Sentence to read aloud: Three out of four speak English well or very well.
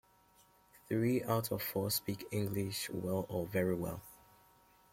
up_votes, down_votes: 2, 0